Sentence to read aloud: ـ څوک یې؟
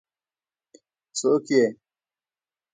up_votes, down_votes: 1, 2